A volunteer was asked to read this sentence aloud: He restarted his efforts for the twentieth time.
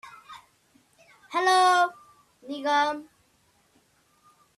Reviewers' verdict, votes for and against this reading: rejected, 0, 2